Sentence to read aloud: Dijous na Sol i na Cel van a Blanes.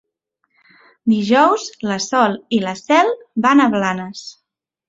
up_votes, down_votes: 1, 2